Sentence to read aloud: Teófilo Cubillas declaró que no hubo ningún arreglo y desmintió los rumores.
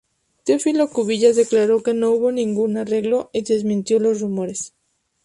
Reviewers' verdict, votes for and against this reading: rejected, 0, 2